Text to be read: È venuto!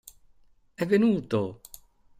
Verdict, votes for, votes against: accepted, 2, 0